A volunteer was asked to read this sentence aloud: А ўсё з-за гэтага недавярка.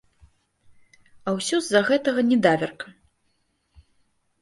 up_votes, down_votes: 1, 2